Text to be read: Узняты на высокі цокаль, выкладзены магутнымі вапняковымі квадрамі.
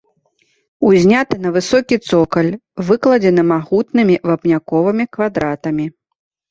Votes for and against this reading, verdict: 1, 2, rejected